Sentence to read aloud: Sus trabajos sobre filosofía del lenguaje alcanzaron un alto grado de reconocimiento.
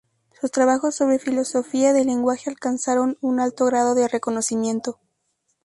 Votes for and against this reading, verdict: 4, 0, accepted